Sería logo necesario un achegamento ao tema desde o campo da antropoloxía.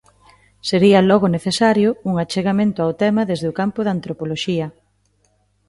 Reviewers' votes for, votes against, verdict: 2, 0, accepted